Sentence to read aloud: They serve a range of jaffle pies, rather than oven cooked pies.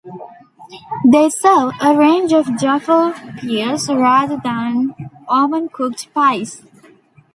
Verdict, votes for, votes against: rejected, 0, 2